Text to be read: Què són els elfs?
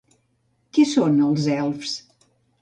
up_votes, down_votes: 0, 2